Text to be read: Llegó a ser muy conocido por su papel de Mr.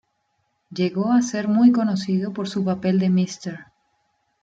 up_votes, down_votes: 1, 2